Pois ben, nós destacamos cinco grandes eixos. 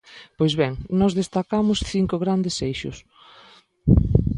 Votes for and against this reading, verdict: 2, 0, accepted